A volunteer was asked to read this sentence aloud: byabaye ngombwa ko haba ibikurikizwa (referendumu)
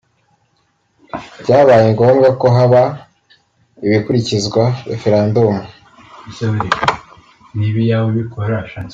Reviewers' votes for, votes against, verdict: 0, 2, rejected